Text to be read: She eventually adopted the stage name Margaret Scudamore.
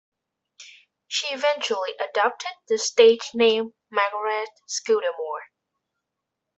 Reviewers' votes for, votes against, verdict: 3, 1, accepted